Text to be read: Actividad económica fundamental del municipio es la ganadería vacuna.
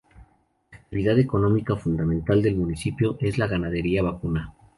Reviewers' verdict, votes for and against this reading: accepted, 2, 0